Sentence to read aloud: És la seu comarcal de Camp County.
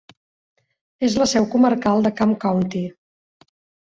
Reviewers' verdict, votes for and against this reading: accepted, 3, 0